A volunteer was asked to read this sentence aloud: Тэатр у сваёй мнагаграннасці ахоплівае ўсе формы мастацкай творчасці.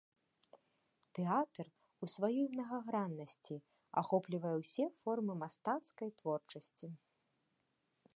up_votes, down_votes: 2, 0